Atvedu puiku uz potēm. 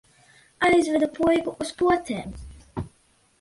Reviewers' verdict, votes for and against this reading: rejected, 0, 2